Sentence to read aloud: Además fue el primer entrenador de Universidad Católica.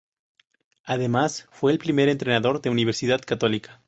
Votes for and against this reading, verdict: 2, 0, accepted